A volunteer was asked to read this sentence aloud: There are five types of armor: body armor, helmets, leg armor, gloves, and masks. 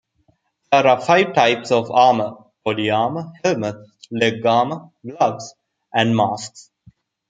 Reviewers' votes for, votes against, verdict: 0, 2, rejected